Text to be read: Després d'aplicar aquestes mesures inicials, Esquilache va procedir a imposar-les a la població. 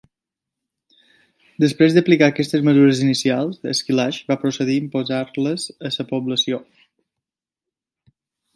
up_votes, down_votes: 2, 1